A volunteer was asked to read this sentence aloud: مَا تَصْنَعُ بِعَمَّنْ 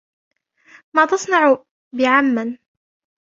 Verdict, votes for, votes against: rejected, 0, 2